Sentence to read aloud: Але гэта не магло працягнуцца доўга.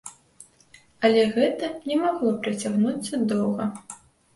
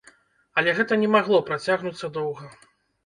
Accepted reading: first